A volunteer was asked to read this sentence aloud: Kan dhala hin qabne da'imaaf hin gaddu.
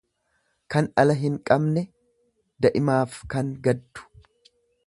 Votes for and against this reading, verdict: 0, 2, rejected